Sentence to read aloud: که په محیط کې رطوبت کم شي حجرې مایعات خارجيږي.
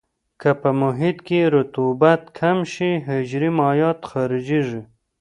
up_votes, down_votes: 2, 0